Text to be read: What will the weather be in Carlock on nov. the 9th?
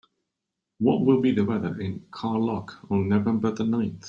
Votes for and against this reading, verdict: 0, 2, rejected